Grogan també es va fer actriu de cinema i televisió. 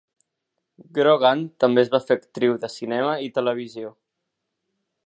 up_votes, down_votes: 3, 0